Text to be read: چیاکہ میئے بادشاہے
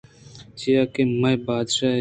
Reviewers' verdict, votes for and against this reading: accepted, 2, 1